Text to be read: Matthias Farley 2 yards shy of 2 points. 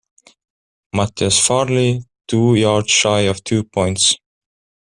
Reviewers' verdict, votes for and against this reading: rejected, 0, 2